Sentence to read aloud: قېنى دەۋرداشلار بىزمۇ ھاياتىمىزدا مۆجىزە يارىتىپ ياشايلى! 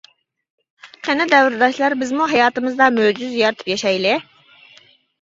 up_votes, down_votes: 2, 0